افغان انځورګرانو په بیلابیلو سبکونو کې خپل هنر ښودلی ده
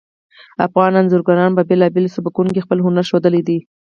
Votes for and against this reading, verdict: 4, 0, accepted